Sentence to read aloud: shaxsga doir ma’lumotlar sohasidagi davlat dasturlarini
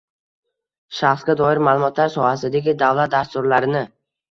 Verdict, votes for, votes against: rejected, 1, 2